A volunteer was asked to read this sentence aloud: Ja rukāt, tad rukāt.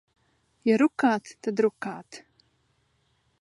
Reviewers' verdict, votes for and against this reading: accepted, 2, 0